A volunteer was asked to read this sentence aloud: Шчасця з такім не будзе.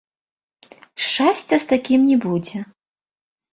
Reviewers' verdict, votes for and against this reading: rejected, 0, 2